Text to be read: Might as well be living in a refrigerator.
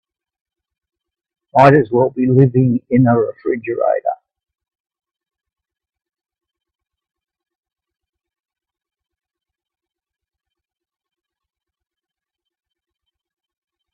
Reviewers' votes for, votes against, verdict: 1, 2, rejected